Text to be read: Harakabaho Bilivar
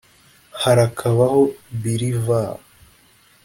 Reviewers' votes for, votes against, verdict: 2, 0, accepted